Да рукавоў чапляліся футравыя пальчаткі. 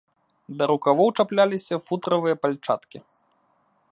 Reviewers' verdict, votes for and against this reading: accepted, 2, 0